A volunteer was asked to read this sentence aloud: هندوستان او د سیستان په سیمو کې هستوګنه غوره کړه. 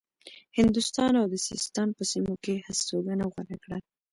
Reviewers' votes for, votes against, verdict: 1, 2, rejected